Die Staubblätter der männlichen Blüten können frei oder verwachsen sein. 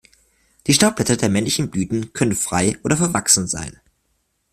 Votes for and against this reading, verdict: 2, 0, accepted